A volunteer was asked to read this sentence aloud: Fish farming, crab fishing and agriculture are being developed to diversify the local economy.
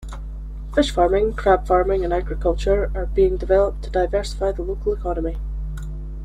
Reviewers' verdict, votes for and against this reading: rejected, 1, 2